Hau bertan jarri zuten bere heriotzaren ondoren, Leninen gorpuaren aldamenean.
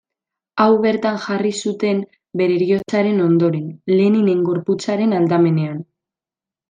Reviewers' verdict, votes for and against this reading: rejected, 1, 2